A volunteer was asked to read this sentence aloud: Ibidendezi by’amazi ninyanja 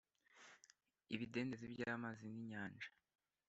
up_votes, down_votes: 2, 0